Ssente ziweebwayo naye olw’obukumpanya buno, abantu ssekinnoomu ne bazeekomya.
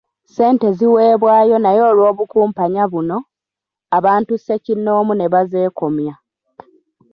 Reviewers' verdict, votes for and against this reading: accepted, 2, 0